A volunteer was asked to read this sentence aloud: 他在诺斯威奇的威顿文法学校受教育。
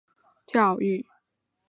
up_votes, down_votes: 0, 2